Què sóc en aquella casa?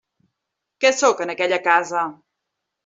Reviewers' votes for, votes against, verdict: 3, 0, accepted